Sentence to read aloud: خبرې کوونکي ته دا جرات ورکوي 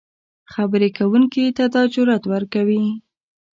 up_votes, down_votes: 2, 0